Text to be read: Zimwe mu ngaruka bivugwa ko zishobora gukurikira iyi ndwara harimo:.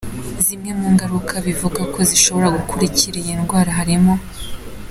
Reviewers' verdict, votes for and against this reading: accepted, 2, 0